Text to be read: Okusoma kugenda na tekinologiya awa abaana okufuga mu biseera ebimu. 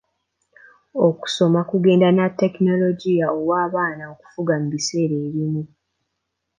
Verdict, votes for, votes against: accepted, 2, 1